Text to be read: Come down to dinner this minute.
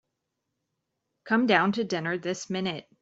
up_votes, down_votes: 2, 0